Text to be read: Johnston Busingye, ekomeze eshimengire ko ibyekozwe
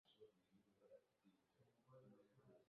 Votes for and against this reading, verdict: 0, 2, rejected